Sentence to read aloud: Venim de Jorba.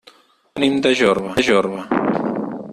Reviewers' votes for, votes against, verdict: 2, 4, rejected